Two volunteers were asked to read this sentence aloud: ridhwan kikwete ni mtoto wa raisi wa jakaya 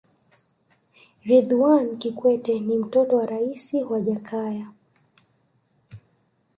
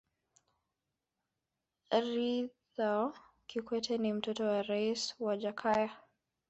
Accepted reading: first